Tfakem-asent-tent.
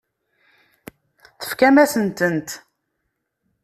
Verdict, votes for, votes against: rejected, 0, 2